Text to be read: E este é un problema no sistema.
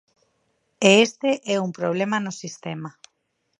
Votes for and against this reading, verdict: 4, 0, accepted